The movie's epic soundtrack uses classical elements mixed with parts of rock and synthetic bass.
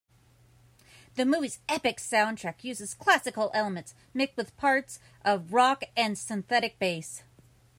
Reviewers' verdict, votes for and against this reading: accepted, 2, 0